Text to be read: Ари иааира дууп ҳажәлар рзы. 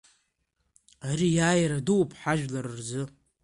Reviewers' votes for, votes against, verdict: 2, 1, accepted